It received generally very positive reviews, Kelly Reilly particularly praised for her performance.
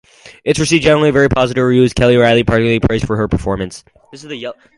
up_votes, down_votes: 4, 2